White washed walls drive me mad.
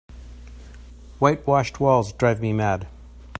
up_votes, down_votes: 2, 0